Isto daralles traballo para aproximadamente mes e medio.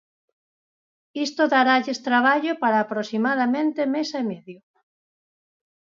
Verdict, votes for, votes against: accepted, 6, 0